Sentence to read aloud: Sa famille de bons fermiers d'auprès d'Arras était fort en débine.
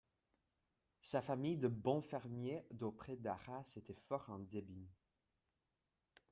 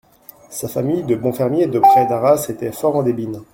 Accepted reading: first